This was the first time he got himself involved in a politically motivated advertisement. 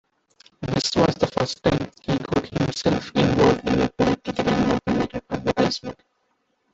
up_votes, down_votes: 0, 2